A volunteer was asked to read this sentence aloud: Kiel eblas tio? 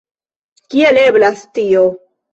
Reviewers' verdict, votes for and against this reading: accepted, 2, 0